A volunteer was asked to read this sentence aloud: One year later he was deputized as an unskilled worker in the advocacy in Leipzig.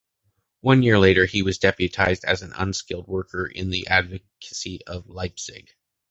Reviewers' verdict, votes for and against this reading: rejected, 0, 2